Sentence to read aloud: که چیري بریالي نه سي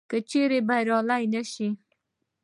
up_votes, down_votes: 1, 2